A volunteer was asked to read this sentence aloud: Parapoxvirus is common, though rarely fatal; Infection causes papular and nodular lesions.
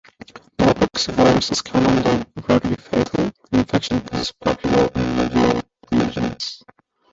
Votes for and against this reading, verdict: 1, 2, rejected